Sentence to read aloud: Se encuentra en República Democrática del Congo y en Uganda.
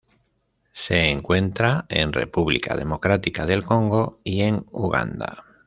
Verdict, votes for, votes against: rejected, 0, 2